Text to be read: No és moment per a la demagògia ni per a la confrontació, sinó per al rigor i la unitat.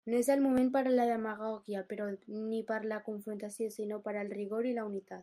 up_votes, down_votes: 0, 2